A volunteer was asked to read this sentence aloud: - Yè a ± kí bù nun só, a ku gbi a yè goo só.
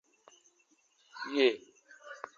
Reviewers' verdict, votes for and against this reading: rejected, 0, 2